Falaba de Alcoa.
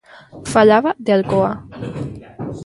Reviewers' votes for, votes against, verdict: 0, 2, rejected